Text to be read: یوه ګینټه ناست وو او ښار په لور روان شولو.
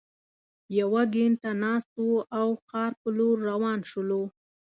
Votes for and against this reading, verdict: 2, 0, accepted